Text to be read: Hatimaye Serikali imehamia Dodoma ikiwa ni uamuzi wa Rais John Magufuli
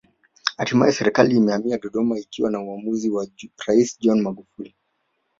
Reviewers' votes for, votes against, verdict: 2, 0, accepted